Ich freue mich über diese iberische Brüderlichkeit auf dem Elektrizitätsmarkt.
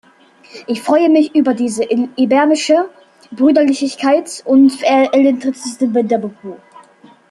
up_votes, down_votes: 0, 2